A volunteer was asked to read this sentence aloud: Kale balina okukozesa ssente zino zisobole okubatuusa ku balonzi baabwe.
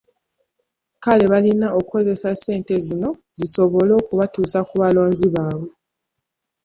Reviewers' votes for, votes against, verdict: 2, 1, accepted